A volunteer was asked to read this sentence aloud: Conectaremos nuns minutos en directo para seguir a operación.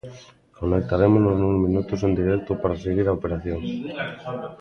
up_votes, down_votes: 0, 2